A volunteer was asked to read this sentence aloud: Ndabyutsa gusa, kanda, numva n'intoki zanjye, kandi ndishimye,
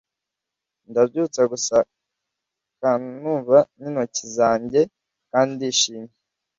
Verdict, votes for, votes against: rejected, 1, 2